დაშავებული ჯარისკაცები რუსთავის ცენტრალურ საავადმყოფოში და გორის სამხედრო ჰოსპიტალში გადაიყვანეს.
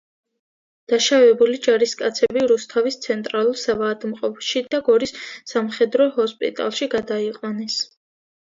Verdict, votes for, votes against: accepted, 2, 0